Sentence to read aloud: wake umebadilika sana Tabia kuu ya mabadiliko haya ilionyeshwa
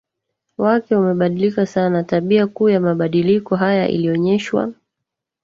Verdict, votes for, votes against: rejected, 1, 2